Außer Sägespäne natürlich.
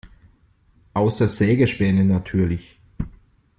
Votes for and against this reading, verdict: 2, 0, accepted